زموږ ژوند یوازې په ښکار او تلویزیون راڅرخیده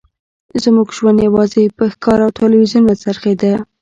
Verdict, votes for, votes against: accepted, 2, 0